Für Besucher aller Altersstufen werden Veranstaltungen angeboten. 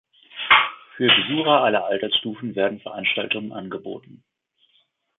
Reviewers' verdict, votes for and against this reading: rejected, 1, 2